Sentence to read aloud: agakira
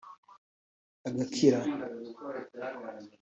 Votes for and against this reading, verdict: 2, 0, accepted